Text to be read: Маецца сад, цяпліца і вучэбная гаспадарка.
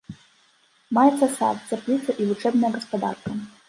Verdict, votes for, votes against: rejected, 1, 2